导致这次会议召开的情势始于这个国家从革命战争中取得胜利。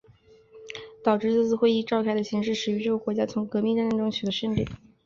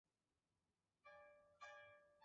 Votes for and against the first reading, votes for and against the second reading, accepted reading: 2, 1, 1, 2, first